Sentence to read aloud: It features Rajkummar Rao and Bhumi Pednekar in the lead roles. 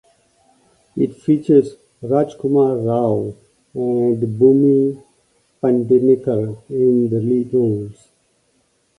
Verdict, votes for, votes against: rejected, 1, 2